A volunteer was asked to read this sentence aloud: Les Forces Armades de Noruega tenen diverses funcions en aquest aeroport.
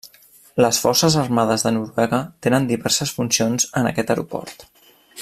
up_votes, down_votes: 0, 2